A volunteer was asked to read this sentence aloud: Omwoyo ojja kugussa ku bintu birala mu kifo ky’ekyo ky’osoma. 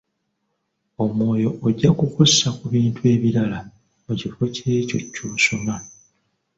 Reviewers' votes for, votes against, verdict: 0, 2, rejected